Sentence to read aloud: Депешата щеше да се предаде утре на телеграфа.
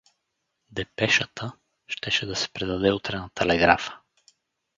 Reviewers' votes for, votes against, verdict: 2, 0, accepted